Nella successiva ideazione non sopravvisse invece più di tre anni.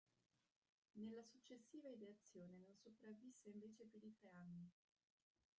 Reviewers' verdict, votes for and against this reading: rejected, 0, 2